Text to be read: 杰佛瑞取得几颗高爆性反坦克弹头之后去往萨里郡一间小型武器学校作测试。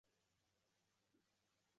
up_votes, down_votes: 2, 0